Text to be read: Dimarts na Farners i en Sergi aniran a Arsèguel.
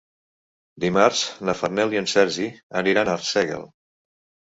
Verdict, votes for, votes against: rejected, 1, 2